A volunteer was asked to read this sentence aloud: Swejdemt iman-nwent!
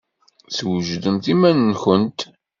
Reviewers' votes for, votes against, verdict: 2, 0, accepted